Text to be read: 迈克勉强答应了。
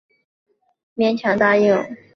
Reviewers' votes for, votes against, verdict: 1, 2, rejected